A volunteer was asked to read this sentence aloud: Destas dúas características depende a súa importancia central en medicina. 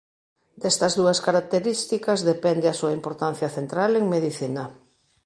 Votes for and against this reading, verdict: 2, 1, accepted